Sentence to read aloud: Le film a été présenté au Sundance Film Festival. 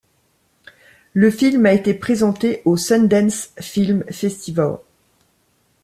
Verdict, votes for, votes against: rejected, 1, 2